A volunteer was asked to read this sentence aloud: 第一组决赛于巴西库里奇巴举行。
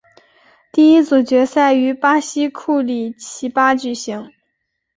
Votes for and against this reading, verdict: 2, 0, accepted